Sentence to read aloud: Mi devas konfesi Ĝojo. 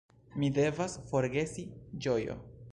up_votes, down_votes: 0, 2